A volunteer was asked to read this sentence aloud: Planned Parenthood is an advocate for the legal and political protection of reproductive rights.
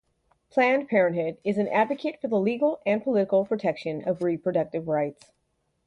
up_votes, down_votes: 2, 0